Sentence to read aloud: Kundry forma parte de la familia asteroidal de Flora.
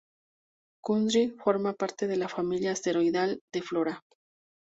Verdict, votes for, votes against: accepted, 2, 0